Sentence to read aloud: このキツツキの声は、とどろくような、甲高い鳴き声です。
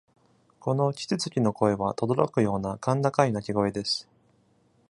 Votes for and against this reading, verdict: 2, 0, accepted